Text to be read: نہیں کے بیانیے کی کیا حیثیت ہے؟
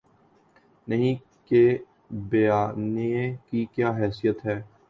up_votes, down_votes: 2, 2